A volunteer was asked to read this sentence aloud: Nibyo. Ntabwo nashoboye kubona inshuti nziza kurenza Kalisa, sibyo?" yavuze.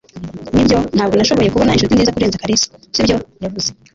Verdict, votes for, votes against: rejected, 1, 2